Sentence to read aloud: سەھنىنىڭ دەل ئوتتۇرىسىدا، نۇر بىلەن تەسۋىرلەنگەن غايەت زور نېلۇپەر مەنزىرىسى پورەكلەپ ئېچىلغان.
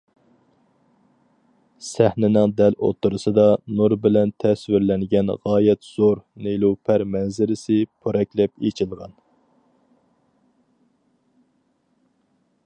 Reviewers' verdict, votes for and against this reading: accepted, 4, 0